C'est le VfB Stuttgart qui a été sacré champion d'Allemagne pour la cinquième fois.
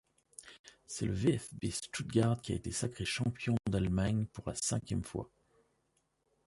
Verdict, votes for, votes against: rejected, 0, 2